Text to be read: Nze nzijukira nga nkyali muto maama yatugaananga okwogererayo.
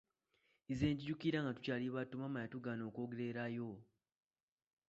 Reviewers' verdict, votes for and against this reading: rejected, 1, 2